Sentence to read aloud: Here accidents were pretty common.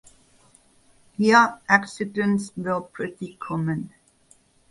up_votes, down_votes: 2, 2